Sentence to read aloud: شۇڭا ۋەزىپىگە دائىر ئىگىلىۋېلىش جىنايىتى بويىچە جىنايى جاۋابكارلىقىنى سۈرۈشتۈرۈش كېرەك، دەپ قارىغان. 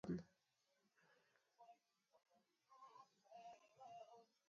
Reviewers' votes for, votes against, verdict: 0, 2, rejected